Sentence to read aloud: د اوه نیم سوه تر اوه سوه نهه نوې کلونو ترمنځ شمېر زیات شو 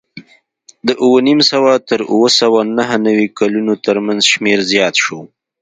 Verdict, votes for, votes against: rejected, 1, 2